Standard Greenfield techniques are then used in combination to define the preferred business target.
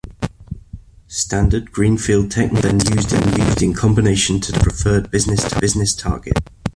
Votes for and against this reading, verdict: 0, 3, rejected